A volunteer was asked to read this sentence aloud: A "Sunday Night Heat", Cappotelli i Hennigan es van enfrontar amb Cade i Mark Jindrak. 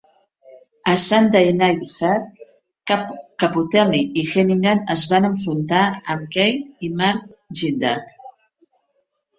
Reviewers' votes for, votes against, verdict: 1, 2, rejected